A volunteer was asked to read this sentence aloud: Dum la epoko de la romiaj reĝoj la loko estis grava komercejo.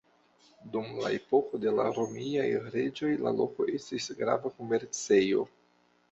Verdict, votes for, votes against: accepted, 2, 1